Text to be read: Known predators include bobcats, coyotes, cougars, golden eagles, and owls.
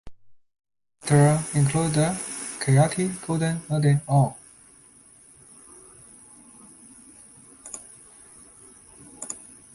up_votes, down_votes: 0, 2